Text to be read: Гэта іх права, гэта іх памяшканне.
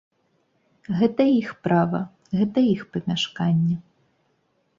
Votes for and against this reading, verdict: 2, 0, accepted